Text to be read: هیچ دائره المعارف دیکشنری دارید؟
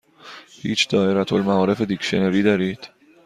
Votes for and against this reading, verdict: 2, 0, accepted